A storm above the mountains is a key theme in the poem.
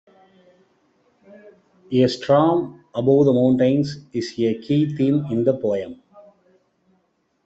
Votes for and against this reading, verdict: 0, 2, rejected